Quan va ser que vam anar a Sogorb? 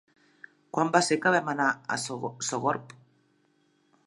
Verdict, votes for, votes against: rejected, 0, 2